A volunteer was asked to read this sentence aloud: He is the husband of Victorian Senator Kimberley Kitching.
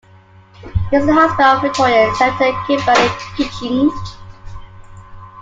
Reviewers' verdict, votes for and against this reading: rejected, 0, 2